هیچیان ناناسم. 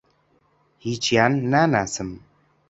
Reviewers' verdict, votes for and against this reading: accepted, 2, 0